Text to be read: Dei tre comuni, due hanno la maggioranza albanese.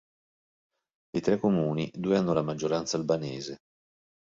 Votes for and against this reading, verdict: 1, 2, rejected